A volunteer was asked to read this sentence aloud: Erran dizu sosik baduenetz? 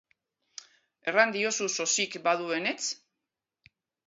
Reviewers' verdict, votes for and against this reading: rejected, 0, 2